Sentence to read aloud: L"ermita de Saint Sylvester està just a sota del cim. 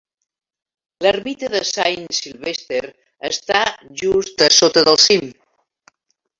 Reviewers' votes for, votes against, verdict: 0, 2, rejected